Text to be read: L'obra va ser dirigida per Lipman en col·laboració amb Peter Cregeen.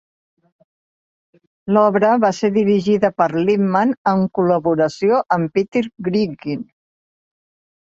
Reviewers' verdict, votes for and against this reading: rejected, 2, 3